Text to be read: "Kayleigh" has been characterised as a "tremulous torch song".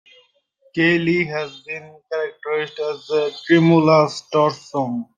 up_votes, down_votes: 0, 2